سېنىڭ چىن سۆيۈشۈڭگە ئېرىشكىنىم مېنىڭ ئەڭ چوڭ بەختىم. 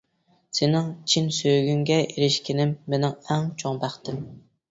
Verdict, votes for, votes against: rejected, 0, 2